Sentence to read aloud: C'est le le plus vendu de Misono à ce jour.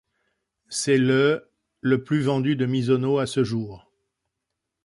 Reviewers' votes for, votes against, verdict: 2, 1, accepted